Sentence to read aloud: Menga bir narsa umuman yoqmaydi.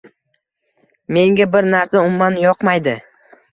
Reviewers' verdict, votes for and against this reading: accepted, 2, 0